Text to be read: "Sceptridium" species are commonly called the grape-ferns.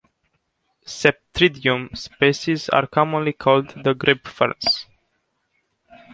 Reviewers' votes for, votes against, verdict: 0, 2, rejected